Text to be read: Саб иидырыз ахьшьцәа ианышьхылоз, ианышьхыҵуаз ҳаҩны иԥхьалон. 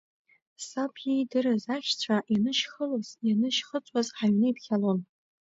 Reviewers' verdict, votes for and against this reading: accepted, 2, 0